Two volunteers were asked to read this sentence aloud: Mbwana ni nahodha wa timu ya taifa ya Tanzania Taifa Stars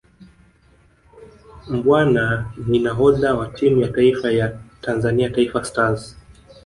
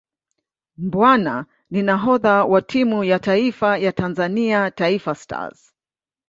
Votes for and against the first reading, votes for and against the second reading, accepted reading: 1, 2, 2, 0, second